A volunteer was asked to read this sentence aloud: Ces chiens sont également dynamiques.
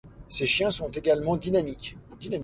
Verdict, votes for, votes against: rejected, 1, 2